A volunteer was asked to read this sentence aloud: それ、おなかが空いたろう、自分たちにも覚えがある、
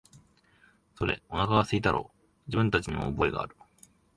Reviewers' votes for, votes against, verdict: 2, 0, accepted